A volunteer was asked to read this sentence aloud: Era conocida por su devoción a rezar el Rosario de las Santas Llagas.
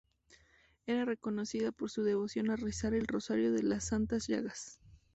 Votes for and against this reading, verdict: 2, 0, accepted